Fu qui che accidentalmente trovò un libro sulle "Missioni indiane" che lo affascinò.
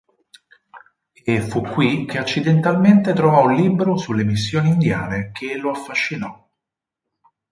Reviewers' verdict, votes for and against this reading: rejected, 2, 6